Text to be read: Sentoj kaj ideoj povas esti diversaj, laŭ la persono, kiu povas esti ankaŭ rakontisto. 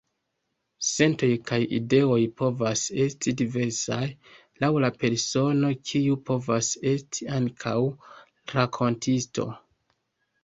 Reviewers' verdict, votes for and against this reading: accepted, 2, 0